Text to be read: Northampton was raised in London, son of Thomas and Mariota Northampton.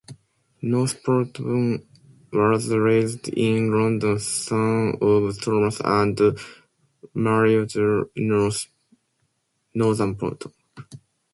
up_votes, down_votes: 0, 2